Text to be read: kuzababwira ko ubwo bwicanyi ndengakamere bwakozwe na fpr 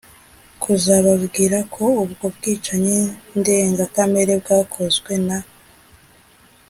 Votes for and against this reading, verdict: 1, 2, rejected